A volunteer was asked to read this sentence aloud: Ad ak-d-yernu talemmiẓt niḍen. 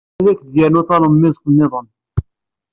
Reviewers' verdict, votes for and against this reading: rejected, 1, 2